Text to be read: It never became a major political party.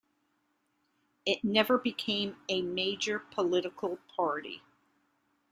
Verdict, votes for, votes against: accepted, 2, 0